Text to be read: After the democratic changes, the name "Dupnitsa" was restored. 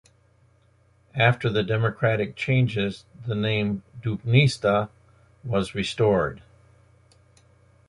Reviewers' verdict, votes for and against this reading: rejected, 1, 2